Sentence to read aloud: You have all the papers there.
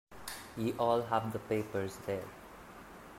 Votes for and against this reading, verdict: 0, 2, rejected